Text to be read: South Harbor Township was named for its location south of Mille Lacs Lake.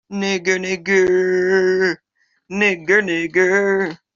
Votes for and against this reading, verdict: 0, 2, rejected